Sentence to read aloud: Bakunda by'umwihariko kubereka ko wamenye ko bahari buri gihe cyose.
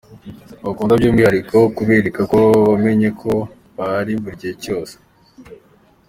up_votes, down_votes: 2, 0